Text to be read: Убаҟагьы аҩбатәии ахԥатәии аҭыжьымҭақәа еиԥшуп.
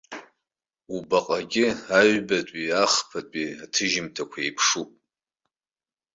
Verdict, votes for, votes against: accepted, 2, 0